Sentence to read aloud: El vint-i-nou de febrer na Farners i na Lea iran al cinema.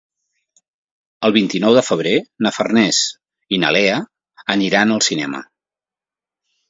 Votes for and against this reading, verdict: 1, 2, rejected